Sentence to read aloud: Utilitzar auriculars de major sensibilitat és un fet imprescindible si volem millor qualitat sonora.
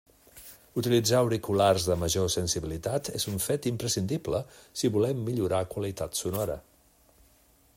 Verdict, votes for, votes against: rejected, 0, 2